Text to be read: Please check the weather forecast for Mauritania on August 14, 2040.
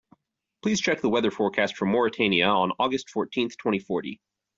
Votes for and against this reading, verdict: 0, 2, rejected